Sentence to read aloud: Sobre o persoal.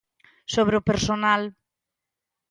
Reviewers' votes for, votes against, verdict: 0, 2, rejected